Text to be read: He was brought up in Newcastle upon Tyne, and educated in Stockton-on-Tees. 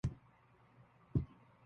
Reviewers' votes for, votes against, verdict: 0, 2, rejected